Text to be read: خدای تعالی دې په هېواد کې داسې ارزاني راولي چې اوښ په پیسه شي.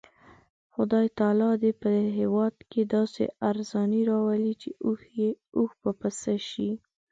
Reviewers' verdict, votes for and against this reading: accepted, 2, 0